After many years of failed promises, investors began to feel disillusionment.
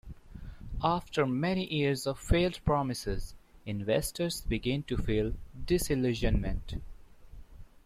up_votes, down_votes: 0, 2